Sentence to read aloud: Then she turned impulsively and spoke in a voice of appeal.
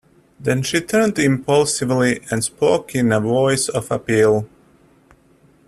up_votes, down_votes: 2, 0